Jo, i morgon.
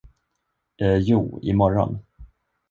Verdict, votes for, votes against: rejected, 1, 2